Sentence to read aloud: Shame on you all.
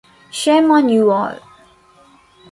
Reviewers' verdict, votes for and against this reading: accepted, 2, 0